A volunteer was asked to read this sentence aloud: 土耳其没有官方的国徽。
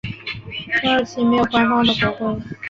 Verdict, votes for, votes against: rejected, 0, 2